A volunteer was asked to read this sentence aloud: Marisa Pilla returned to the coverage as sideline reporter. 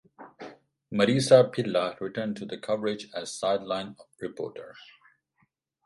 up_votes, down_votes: 4, 2